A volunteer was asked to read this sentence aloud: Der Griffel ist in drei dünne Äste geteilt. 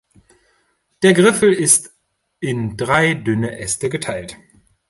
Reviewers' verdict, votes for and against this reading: accepted, 2, 0